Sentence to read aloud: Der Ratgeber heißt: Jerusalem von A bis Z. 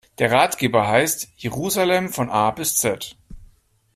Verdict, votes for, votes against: accepted, 2, 0